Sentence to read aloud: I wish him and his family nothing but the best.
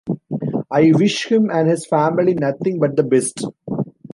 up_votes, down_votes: 2, 0